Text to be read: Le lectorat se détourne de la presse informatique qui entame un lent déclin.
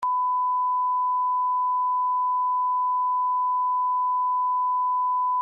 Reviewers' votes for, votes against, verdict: 0, 2, rejected